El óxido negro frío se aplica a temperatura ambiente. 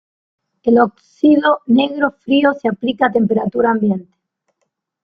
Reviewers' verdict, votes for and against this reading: rejected, 1, 2